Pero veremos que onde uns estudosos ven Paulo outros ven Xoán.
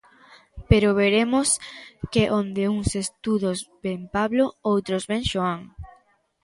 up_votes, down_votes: 0, 2